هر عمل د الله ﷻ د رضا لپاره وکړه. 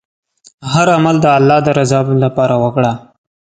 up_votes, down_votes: 2, 0